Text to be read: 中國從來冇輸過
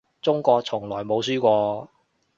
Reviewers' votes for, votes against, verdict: 2, 0, accepted